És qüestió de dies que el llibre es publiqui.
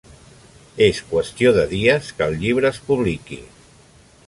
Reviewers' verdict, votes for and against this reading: accepted, 3, 0